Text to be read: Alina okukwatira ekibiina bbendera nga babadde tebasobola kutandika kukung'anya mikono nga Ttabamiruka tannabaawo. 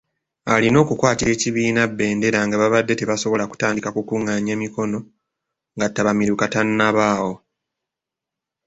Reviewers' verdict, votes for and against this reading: rejected, 1, 2